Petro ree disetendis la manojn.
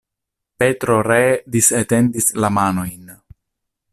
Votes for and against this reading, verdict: 2, 0, accepted